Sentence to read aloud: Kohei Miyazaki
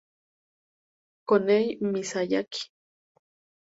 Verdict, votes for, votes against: rejected, 2, 2